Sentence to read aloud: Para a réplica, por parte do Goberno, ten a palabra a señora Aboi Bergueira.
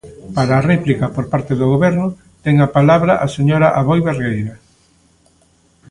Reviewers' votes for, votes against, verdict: 2, 1, accepted